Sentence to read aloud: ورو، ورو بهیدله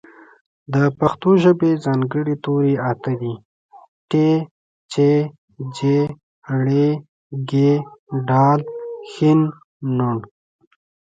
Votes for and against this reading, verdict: 0, 2, rejected